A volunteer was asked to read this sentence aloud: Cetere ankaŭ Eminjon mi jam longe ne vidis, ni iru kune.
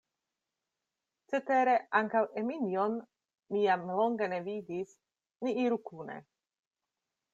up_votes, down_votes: 2, 0